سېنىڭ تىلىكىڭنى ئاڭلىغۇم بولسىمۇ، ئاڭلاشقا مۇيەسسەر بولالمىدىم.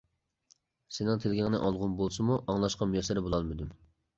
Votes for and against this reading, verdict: 0, 2, rejected